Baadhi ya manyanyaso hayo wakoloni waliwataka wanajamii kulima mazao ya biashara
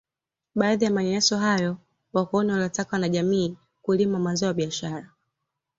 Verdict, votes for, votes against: accepted, 2, 0